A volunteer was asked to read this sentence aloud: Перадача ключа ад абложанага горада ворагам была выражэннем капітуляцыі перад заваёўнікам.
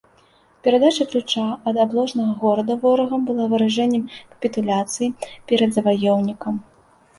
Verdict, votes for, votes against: rejected, 1, 2